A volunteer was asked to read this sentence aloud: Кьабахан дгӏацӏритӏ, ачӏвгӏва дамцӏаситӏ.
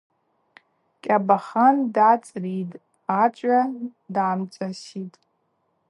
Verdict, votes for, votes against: accepted, 2, 0